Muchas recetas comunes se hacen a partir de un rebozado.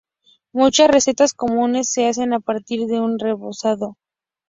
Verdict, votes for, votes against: accepted, 4, 0